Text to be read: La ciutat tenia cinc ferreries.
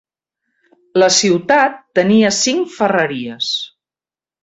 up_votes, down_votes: 3, 0